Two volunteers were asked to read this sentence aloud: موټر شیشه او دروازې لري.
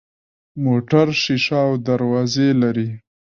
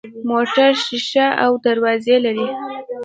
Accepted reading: first